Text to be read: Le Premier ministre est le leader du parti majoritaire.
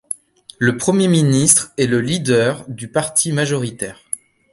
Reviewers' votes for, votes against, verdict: 2, 0, accepted